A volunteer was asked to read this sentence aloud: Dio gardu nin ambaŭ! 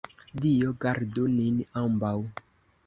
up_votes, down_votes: 2, 0